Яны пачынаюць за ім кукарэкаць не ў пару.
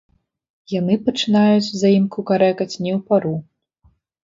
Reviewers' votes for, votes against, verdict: 2, 0, accepted